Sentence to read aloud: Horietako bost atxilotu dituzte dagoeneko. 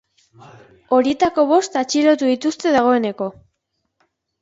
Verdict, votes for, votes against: rejected, 1, 2